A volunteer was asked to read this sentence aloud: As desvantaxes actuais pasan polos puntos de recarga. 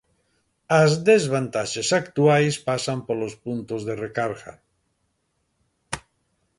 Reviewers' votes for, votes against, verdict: 2, 0, accepted